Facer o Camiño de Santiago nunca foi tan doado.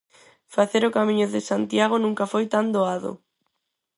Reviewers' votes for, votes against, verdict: 4, 0, accepted